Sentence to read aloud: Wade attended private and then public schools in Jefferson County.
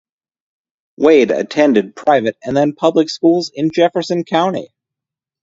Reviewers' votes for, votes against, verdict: 2, 0, accepted